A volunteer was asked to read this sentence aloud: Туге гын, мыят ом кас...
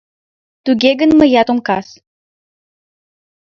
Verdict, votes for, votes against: accepted, 2, 0